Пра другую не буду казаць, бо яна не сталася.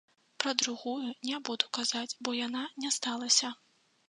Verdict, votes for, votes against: accepted, 2, 0